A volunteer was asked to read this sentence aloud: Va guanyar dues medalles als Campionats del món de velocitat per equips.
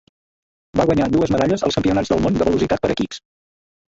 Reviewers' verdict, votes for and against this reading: rejected, 0, 3